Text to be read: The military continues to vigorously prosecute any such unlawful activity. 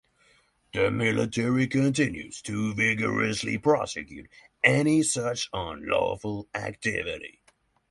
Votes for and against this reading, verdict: 3, 0, accepted